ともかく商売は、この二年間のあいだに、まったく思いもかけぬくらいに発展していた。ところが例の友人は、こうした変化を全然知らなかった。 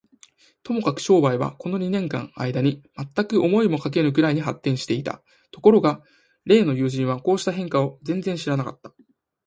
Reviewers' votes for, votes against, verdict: 4, 0, accepted